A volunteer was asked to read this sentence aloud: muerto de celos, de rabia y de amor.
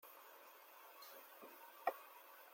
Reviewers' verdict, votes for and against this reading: rejected, 0, 2